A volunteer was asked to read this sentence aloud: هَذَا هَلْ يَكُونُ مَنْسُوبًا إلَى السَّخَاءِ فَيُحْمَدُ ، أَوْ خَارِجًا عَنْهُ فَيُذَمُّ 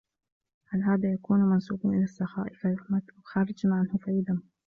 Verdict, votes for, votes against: rejected, 1, 3